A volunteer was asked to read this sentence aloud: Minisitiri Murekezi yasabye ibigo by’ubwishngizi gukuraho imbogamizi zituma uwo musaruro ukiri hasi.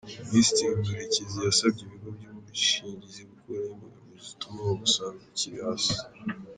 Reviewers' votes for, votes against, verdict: 0, 2, rejected